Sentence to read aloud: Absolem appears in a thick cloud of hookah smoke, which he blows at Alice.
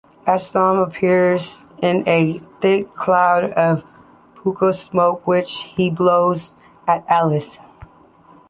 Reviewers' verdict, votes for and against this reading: accepted, 2, 0